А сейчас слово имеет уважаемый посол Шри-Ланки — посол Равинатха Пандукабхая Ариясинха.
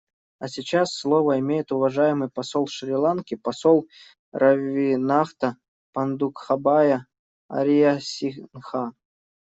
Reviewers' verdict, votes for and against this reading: rejected, 0, 2